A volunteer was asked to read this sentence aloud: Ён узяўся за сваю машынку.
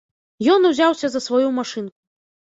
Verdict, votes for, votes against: rejected, 1, 2